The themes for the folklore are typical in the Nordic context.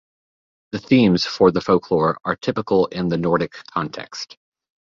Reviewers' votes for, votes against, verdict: 2, 0, accepted